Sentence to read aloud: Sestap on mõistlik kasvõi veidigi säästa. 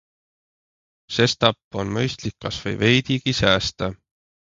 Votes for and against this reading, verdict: 2, 0, accepted